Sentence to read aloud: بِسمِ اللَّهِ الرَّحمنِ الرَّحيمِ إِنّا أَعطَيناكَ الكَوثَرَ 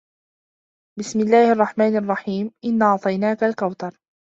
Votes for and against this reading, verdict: 3, 0, accepted